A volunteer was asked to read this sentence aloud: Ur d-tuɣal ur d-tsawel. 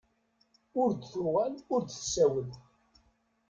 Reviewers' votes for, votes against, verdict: 2, 0, accepted